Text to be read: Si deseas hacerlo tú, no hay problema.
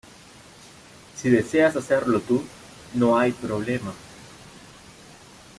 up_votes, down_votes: 2, 0